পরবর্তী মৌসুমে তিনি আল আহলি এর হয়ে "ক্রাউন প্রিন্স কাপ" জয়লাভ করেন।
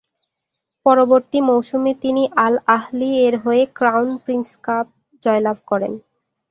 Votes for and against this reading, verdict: 0, 2, rejected